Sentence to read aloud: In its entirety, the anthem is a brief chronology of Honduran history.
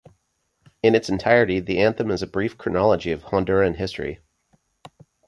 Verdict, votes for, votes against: accepted, 2, 0